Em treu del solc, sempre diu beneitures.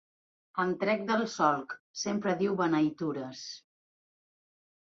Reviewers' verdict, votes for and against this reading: rejected, 1, 2